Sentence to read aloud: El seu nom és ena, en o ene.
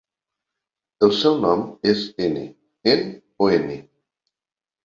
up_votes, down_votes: 0, 2